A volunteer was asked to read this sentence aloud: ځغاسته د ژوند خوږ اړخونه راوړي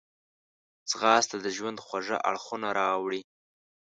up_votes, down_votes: 2, 1